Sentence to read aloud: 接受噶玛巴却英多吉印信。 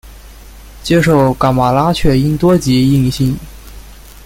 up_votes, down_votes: 1, 2